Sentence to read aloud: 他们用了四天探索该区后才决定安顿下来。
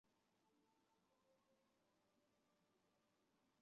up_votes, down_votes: 1, 2